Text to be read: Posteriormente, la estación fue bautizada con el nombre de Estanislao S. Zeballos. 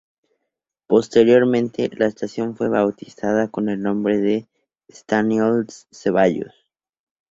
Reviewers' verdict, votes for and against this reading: rejected, 0, 2